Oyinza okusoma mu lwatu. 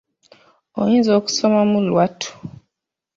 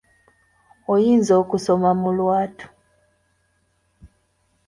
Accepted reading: second